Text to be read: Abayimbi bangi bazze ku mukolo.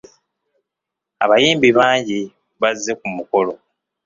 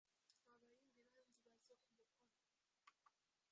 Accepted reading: first